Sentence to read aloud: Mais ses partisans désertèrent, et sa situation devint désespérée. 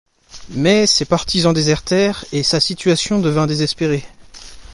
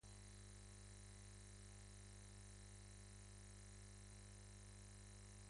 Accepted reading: first